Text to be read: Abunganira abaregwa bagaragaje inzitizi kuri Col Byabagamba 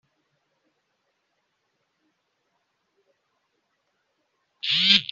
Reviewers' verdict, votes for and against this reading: rejected, 0, 2